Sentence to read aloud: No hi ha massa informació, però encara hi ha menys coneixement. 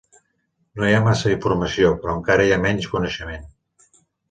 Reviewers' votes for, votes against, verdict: 3, 0, accepted